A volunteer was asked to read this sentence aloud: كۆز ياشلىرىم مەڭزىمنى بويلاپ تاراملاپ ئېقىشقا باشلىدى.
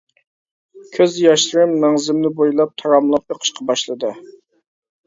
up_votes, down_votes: 2, 0